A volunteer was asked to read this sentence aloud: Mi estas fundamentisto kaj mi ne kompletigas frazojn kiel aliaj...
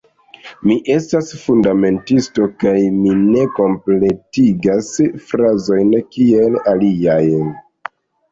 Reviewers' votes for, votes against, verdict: 2, 1, accepted